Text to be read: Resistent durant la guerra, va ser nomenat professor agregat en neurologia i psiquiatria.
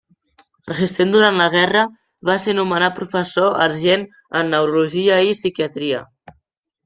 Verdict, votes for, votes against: rejected, 0, 2